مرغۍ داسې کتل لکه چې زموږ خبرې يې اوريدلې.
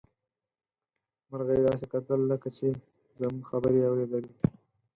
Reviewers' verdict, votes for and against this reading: accepted, 4, 2